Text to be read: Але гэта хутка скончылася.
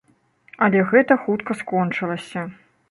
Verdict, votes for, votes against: accepted, 2, 0